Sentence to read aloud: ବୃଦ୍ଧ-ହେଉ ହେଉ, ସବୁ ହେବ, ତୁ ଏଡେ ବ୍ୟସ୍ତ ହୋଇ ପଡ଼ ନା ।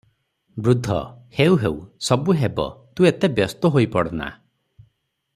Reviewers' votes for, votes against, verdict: 0, 3, rejected